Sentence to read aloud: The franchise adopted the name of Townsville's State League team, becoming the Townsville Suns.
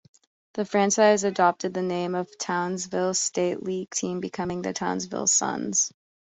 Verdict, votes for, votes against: rejected, 1, 2